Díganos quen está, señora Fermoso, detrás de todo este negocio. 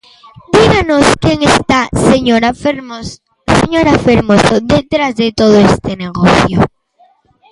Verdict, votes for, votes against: rejected, 0, 2